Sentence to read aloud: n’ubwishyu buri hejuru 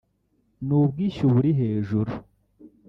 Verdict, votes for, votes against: rejected, 1, 2